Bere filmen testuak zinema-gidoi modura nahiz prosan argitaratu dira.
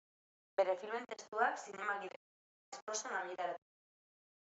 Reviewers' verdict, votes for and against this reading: rejected, 0, 2